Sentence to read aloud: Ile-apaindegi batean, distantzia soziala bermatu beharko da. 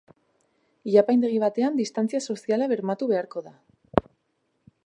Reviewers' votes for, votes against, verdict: 0, 2, rejected